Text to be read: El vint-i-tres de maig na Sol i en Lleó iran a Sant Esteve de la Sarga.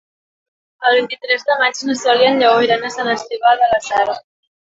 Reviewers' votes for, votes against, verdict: 0, 5, rejected